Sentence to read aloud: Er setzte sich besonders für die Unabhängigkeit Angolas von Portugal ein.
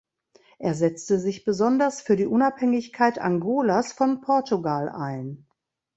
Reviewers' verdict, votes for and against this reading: rejected, 1, 2